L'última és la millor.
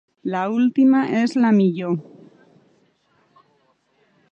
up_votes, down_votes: 1, 2